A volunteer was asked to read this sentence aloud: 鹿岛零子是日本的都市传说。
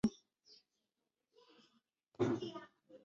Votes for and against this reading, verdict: 0, 2, rejected